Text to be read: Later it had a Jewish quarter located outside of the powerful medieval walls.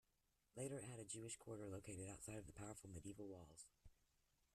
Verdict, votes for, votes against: rejected, 0, 2